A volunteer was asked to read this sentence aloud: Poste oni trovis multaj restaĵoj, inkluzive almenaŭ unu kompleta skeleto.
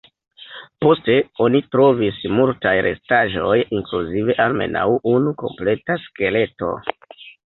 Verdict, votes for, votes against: rejected, 1, 2